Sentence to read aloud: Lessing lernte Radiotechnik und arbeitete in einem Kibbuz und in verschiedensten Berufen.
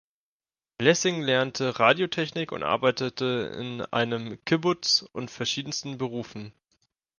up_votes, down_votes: 0, 2